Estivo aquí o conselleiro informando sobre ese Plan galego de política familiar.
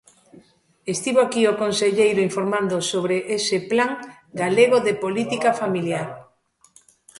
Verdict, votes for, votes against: rejected, 1, 2